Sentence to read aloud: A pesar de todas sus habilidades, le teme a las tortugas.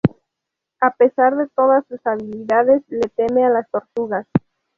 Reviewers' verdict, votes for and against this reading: accepted, 2, 0